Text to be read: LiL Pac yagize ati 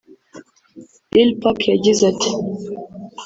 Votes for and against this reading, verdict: 0, 2, rejected